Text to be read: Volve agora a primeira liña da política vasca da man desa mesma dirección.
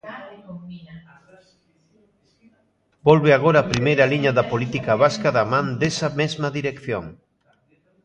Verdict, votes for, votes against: rejected, 1, 2